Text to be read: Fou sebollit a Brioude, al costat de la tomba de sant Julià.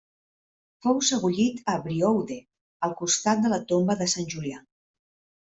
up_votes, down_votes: 1, 2